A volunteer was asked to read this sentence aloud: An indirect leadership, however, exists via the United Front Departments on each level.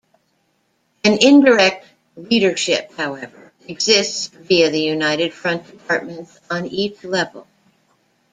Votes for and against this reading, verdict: 1, 2, rejected